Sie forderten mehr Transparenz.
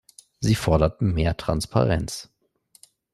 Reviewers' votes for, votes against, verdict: 2, 0, accepted